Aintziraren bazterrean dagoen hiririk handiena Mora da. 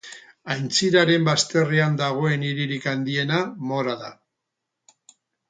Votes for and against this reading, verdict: 4, 0, accepted